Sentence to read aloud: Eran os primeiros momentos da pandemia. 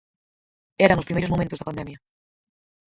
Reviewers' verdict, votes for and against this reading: rejected, 0, 4